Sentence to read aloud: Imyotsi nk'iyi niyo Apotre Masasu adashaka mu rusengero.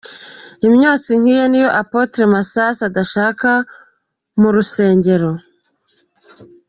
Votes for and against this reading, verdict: 2, 1, accepted